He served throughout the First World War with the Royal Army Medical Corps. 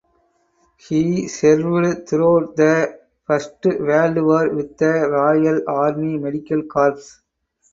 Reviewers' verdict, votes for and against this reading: accepted, 4, 0